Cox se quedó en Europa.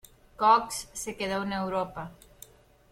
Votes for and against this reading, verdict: 1, 2, rejected